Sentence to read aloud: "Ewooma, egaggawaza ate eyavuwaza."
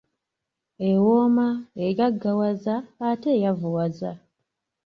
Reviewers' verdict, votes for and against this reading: accepted, 2, 0